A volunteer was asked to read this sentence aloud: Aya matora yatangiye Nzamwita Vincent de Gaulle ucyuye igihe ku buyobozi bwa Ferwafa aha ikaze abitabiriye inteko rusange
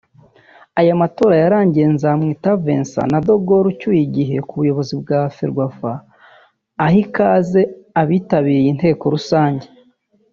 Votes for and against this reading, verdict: 0, 2, rejected